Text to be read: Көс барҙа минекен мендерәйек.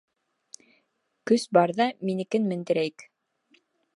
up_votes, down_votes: 2, 0